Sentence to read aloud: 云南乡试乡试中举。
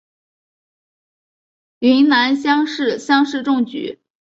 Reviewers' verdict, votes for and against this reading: accepted, 2, 1